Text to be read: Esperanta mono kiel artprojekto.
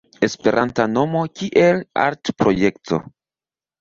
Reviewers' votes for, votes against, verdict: 2, 0, accepted